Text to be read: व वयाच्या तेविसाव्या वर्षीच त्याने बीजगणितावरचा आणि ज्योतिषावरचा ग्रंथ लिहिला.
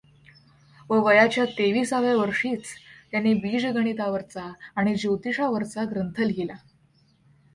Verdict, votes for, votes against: accepted, 2, 0